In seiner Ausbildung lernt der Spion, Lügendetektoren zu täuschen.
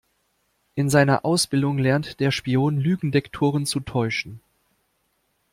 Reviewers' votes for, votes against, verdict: 0, 2, rejected